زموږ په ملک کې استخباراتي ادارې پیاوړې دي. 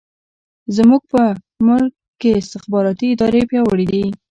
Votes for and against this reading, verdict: 1, 2, rejected